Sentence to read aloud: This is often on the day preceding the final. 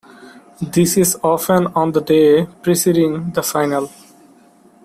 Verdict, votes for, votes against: accepted, 2, 0